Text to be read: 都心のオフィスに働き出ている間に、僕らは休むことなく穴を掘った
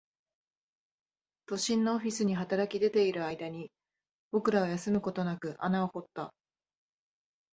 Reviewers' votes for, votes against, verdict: 9, 0, accepted